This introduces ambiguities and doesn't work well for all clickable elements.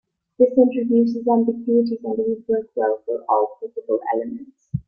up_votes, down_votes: 2, 3